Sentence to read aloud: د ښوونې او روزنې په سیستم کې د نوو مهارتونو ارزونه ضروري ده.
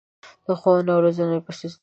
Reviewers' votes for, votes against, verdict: 1, 2, rejected